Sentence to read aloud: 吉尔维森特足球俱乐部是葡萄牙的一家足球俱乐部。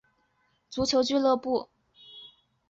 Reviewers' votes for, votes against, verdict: 0, 2, rejected